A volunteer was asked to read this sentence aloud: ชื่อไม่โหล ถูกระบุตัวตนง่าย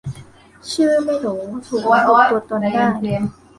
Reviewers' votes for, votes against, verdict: 0, 3, rejected